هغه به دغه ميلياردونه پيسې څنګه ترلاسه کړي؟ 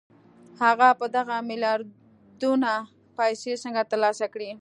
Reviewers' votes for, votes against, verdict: 2, 1, accepted